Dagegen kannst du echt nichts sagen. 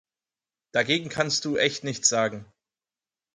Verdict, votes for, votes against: accepted, 4, 0